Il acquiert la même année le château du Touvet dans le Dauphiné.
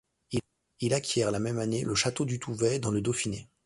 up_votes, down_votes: 0, 2